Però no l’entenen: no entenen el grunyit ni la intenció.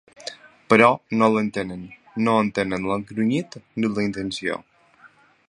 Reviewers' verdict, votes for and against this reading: rejected, 1, 2